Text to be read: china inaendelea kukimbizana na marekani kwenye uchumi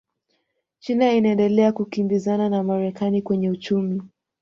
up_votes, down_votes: 2, 0